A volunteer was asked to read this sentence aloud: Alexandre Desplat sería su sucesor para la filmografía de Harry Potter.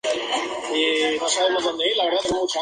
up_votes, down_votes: 0, 4